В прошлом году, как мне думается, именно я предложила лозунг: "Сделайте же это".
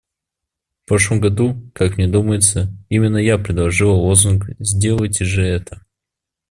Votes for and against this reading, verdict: 2, 0, accepted